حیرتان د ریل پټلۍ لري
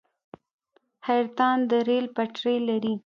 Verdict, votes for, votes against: accepted, 2, 0